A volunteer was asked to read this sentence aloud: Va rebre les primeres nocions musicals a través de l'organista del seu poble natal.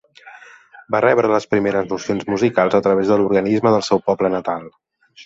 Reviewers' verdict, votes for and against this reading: rejected, 1, 2